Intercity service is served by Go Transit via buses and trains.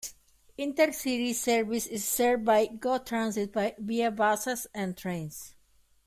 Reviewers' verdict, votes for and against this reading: rejected, 1, 2